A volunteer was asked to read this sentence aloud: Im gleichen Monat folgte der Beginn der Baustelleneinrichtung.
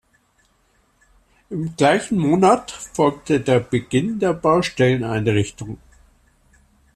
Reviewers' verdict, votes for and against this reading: accepted, 2, 0